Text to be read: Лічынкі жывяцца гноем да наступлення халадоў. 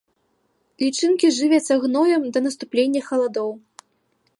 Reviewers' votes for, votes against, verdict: 2, 0, accepted